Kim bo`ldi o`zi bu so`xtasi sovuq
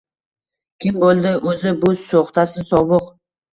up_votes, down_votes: 1, 2